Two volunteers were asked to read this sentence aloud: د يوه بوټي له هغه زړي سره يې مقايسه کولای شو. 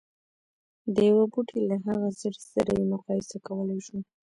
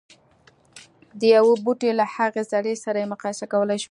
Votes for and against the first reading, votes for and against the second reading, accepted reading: 1, 2, 2, 0, second